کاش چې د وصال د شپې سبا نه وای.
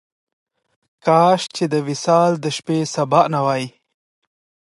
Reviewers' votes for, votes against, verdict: 2, 0, accepted